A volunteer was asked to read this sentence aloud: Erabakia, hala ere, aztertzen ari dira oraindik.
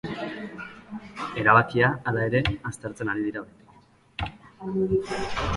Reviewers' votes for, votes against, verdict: 0, 2, rejected